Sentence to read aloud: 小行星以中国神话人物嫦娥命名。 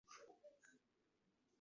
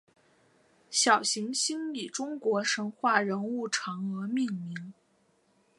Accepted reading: second